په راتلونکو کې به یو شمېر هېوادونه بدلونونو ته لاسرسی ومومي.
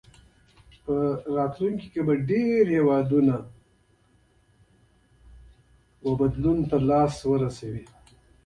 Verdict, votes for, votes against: rejected, 1, 2